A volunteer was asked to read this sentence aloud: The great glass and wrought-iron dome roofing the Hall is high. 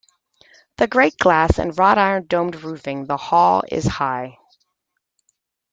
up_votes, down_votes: 2, 0